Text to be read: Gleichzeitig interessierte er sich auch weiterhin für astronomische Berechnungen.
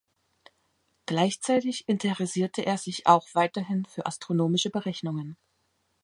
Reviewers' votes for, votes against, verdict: 2, 0, accepted